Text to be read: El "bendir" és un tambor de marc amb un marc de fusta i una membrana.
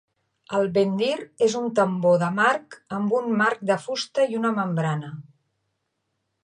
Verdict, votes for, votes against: rejected, 0, 2